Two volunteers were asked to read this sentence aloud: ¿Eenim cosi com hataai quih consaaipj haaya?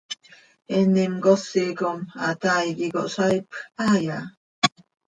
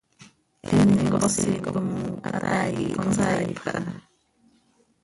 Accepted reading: first